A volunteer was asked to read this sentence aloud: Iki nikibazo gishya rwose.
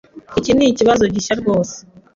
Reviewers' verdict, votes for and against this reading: accepted, 2, 0